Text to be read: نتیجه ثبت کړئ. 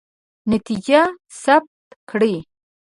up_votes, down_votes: 1, 2